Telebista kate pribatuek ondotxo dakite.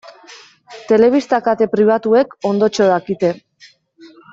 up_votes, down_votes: 2, 0